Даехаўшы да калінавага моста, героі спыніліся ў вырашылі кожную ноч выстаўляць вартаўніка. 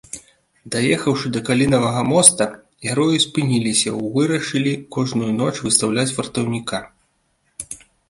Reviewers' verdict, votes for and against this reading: accepted, 2, 1